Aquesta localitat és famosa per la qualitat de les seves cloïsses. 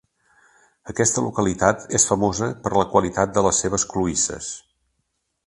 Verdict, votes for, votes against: accepted, 2, 0